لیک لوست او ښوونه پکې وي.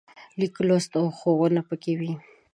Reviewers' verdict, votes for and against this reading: accepted, 2, 0